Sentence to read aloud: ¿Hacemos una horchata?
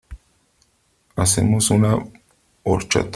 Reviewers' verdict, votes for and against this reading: rejected, 1, 3